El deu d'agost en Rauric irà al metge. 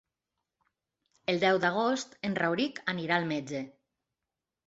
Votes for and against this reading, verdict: 1, 2, rejected